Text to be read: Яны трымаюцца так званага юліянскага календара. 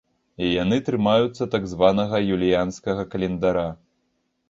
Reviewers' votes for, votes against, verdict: 0, 2, rejected